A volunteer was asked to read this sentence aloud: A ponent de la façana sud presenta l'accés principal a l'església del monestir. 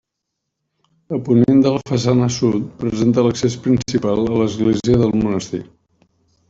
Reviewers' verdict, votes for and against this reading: accepted, 2, 0